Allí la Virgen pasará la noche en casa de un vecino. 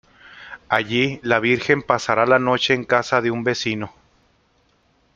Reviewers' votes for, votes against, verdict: 2, 0, accepted